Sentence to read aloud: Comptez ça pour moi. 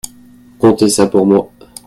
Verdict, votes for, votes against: accepted, 2, 0